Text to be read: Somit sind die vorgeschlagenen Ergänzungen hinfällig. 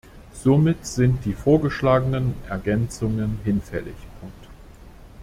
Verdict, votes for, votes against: rejected, 0, 2